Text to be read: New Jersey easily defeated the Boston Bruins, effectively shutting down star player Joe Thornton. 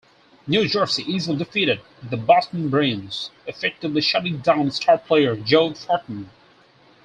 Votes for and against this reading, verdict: 4, 0, accepted